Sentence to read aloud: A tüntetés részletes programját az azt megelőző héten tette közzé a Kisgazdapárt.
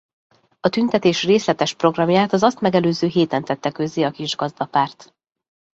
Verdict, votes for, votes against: accepted, 3, 0